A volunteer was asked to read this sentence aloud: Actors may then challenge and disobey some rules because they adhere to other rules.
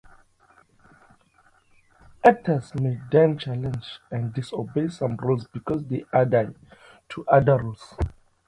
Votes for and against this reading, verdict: 0, 2, rejected